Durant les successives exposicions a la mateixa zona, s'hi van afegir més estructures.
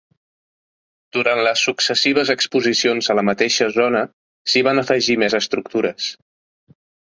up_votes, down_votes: 5, 0